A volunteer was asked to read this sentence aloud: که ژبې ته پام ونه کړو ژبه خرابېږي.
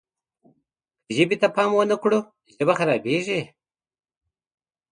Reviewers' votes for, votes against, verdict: 2, 0, accepted